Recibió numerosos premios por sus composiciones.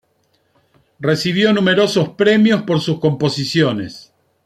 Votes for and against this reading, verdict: 2, 0, accepted